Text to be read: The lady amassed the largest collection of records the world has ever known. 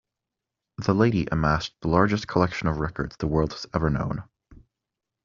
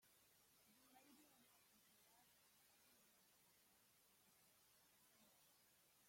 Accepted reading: first